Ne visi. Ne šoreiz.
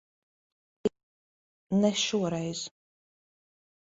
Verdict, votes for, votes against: rejected, 0, 2